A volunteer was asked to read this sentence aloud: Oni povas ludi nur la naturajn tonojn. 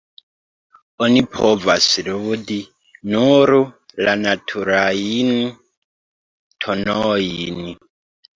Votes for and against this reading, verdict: 1, 2, rejected